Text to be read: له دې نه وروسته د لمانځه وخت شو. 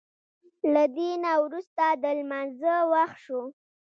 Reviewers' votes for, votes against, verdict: 1, 2, rejected